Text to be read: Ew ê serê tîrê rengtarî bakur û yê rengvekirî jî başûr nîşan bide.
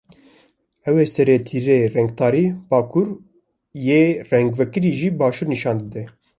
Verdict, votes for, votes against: rejected, 1, 2